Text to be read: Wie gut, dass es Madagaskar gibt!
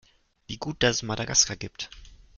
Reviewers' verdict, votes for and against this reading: rejected, 1, 2